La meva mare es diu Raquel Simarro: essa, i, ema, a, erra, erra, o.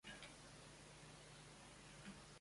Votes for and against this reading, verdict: 0, 2, rejected